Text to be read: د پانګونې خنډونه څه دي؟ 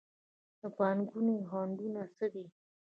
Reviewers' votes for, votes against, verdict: 2, 1, accepted